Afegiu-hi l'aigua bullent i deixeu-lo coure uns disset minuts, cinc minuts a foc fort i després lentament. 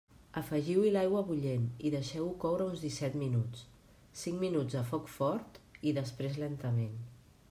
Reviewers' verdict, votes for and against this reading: rejected, 0, 2